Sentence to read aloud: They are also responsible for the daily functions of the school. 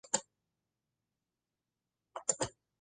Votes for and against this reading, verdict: 0, 2, rejected